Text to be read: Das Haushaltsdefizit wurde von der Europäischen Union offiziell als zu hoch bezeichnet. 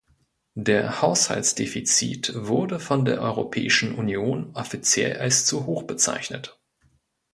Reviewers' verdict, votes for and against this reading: rejected, 0, 2